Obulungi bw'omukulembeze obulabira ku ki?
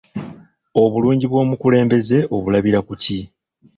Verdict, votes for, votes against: rejected, 1, 2